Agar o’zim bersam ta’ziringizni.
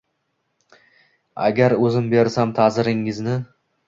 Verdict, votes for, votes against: accepted, 2, 0